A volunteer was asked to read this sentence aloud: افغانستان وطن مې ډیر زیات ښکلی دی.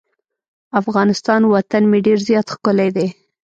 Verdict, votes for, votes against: accepted, 2, 0